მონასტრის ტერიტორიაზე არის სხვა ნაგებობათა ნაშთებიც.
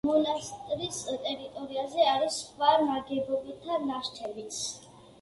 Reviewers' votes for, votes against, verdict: 1, 2, rejected